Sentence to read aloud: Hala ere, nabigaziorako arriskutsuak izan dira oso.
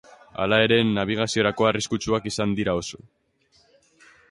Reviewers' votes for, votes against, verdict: 3, 0, accepted